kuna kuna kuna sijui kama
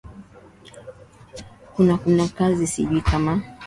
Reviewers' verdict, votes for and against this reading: rejected, 1, 2